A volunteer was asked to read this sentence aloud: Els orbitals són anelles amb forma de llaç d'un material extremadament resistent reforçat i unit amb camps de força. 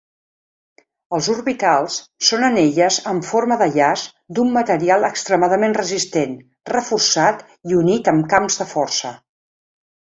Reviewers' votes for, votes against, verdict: 2, 0, accepted